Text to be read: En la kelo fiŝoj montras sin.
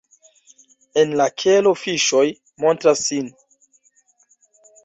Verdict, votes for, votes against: rejected, 1, 2